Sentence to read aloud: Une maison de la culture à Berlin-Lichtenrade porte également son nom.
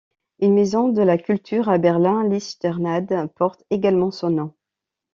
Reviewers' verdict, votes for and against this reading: rejected, 0, 2